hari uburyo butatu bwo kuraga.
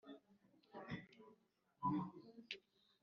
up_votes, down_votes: 0, 2